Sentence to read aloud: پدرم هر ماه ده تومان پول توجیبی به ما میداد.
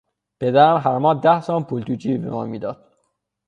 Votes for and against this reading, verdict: 6, 0, accepted